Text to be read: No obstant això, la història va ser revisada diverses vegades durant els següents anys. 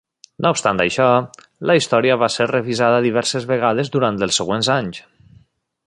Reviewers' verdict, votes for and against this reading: accepted, 3, 0